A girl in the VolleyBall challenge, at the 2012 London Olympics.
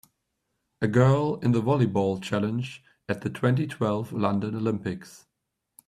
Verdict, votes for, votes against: rejected, 0, 2